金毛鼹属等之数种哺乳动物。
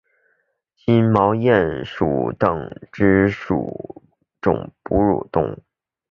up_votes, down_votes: 6, 0